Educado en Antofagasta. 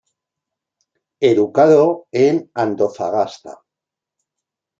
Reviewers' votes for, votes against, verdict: 0, 2, rejected